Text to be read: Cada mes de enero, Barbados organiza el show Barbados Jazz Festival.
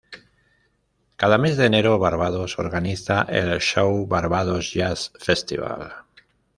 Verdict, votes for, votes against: accepted, 2, 0